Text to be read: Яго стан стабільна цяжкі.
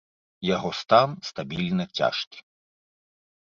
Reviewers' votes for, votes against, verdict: 1, 2, rejected